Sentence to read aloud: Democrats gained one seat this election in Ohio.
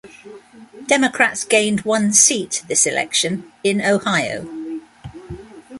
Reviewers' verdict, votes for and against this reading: accepted, 2, 0